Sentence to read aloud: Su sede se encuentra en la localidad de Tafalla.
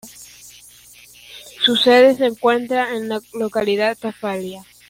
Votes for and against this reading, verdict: 2, 1, accepted